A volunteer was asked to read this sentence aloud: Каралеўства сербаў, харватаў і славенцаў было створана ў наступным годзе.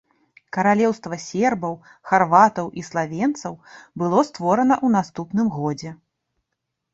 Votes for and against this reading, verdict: 2, 0, accepted